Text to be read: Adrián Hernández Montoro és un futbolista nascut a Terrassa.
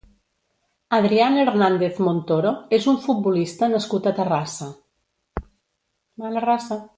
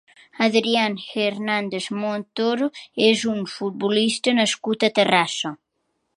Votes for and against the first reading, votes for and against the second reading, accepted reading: 0, 2, 4, 1, second